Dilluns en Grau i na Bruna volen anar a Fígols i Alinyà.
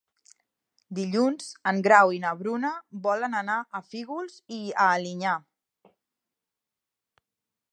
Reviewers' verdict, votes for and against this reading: rejected, 1, 2